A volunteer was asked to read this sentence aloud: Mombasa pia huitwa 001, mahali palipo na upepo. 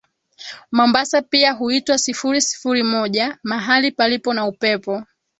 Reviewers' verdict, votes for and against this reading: rejected, 0, 2